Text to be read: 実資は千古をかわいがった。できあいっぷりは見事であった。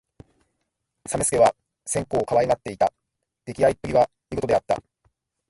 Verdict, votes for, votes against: accepted, 2, 0